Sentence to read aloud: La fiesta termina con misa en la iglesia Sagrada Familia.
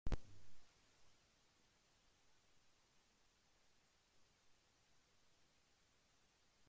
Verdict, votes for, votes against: rejected, 0, 2